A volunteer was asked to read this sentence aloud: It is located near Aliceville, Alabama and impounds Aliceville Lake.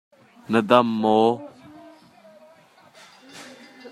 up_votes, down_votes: 0, 2